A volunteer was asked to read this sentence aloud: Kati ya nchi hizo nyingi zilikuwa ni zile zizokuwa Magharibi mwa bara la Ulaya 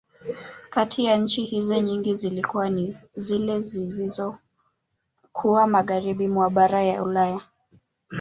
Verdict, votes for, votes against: rejected, 1, 2